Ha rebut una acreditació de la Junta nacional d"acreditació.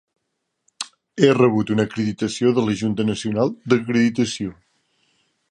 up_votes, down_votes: 0, 2